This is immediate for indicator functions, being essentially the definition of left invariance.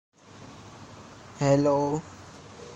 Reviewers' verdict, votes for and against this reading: rejected, 0, 2